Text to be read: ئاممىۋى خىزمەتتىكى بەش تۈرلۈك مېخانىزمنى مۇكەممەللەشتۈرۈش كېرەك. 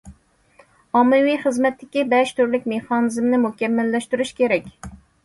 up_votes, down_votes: 2, 0